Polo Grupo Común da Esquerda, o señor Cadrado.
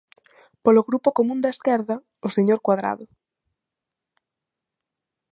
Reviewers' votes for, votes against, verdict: 1, 2, rejected